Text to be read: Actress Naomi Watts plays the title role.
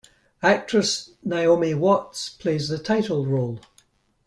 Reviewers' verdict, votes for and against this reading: accepted, 2, 0